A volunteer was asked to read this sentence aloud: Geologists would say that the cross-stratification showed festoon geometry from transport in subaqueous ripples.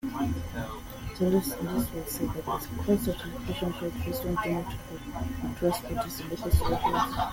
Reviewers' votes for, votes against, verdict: 1, 2, rejected